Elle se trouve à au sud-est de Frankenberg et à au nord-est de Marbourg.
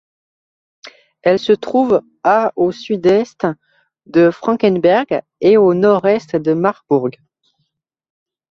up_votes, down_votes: 0, 2